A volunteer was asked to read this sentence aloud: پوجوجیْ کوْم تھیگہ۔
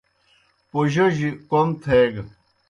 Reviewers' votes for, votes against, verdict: 2, 0, accepted